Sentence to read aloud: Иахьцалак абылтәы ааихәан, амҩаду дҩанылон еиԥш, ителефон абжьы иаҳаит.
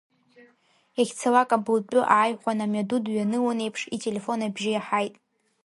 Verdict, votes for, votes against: rejected, 0, 2